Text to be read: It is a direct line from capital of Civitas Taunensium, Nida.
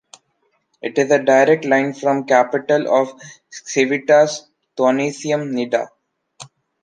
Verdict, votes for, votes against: rejected, 1, 2